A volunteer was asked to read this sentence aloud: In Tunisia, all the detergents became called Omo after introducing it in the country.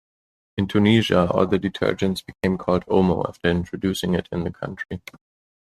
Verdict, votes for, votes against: accepted, 2, 0